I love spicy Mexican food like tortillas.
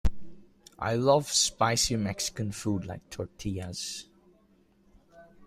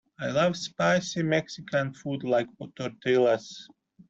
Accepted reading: first